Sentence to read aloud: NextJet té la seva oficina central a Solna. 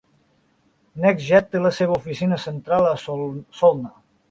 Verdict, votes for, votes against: rejected, 0, 2